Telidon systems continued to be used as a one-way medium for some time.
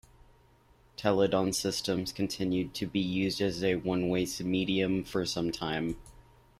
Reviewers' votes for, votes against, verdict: 0, 2, rejected